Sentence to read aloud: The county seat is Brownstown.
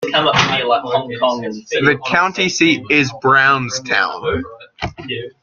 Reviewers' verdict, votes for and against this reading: accepted, 2, 0